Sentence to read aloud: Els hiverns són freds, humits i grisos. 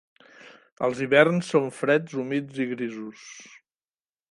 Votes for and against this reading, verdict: 2, 0, accepted